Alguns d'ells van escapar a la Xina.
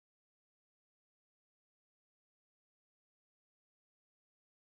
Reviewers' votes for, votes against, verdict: 0, 2, rejected